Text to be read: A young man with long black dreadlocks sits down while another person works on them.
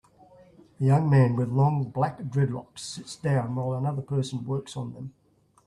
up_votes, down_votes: 2, 0